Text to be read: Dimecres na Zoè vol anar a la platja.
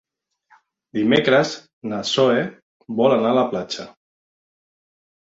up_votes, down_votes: 0, 2